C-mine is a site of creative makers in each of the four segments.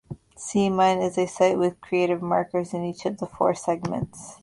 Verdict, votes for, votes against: rejected, 1, 2